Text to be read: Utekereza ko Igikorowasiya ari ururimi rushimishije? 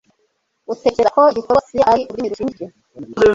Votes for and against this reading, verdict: 1, 2, rejected